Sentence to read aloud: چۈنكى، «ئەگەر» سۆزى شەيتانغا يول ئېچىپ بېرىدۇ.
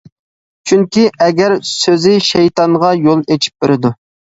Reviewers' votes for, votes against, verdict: 2, 0, accepted